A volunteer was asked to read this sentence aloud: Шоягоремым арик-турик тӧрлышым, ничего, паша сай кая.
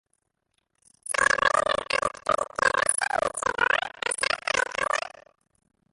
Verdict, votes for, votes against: rejected, 0, 2